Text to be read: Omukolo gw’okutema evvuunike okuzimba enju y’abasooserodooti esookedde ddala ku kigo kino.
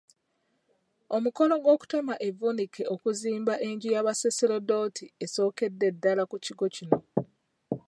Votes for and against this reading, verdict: 2, 0, accepted